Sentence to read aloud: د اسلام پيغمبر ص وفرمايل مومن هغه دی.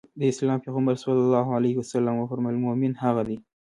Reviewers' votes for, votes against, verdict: 2, 0, accepted